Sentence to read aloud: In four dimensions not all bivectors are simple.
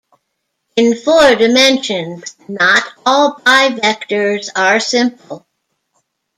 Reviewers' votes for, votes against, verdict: 1, 2, rejected